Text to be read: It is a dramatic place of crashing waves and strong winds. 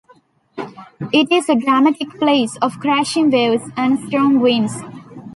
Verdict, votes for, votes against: accepted, 2, 0